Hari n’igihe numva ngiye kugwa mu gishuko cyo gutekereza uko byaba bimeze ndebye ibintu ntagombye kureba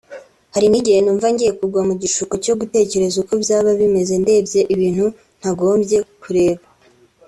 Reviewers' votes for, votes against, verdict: 2, 0, accepted